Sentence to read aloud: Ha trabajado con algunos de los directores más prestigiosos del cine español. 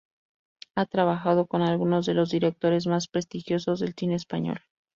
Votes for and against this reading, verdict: 2, 0, accepted